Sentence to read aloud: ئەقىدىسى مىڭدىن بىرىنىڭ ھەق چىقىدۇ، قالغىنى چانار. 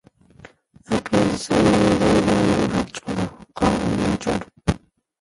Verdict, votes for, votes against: rejected, 0, 2